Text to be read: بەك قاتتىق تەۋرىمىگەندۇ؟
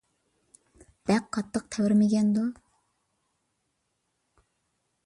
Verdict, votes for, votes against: accepted, 2, 0